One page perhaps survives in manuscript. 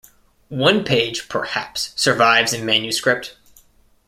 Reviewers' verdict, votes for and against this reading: accepted, 2, 0